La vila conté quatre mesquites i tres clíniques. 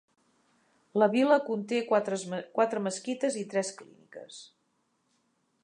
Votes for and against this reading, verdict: 0, 2, rejected